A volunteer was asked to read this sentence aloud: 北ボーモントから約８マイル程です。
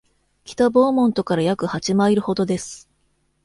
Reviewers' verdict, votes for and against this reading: rejected, 0, 2